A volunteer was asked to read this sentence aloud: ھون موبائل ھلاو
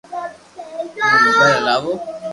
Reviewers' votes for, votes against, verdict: 2, 0, accepted